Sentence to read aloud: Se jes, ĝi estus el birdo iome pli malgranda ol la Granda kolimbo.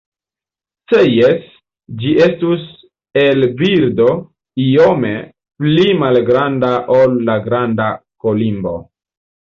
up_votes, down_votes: 2, 1